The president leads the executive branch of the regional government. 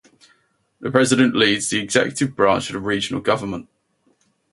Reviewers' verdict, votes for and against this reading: rejected, 0, 2